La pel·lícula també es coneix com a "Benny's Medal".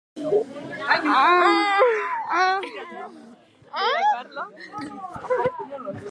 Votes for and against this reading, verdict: 0, 2, rejected